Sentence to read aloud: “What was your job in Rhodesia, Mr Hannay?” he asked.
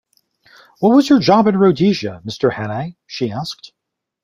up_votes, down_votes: 1, 2